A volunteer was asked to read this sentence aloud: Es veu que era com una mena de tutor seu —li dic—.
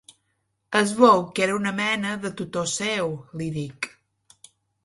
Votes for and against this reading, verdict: 2, 1, accepted